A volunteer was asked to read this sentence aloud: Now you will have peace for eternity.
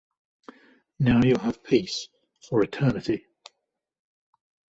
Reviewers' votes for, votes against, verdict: 1, 2, rejected